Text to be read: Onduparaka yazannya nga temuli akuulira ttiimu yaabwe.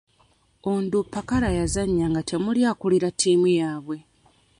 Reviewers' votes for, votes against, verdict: 0, 2, rejected